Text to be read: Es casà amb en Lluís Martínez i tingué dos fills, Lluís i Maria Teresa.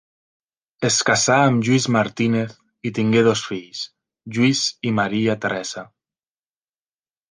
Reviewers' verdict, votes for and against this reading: rejected, 0, 2